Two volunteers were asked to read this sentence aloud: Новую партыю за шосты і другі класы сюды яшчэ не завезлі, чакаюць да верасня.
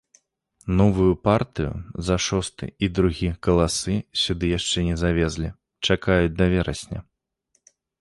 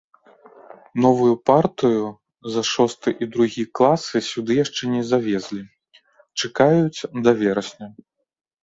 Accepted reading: second